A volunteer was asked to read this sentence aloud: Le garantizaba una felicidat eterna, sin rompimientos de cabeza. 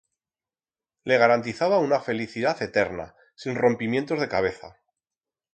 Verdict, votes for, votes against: rejected, 2, 4